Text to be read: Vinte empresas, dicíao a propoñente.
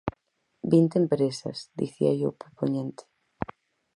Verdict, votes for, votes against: rejected, 2, 4